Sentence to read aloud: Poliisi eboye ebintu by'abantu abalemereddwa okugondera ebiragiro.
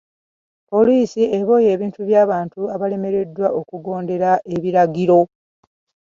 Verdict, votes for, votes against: accepted, 2, 0